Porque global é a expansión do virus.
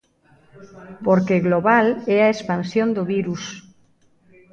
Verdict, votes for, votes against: rejected, 1, 2